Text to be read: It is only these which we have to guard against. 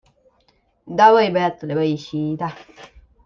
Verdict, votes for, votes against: rejected, 0, 2